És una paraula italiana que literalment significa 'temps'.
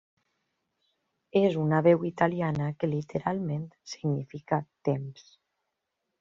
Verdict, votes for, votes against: rejected, 0, 2